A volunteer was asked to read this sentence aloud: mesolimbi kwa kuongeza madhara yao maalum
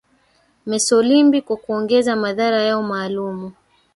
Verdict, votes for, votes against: accepted, 3, 0